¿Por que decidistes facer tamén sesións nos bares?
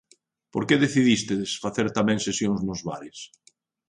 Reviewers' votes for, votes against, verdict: 1, 2, rejected